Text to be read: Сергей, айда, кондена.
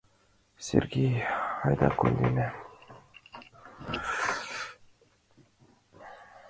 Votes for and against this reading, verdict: 2, 0, accepted